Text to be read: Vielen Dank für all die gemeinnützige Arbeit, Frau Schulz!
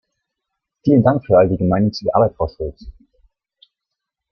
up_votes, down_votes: 1, 2